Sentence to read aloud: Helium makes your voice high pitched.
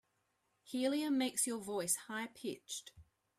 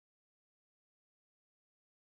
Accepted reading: first